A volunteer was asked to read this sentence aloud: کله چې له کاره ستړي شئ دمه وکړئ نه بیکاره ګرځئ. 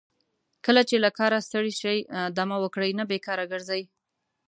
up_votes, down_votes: 2, 0